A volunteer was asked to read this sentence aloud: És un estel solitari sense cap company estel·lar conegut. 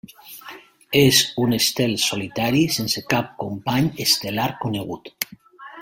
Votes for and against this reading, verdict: 1, 2, rejected